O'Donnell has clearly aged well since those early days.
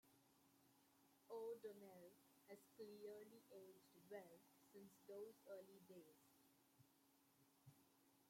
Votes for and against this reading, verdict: 1, 2, rejected